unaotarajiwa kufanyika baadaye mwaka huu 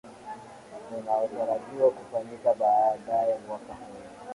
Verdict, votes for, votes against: rejected, 1, 2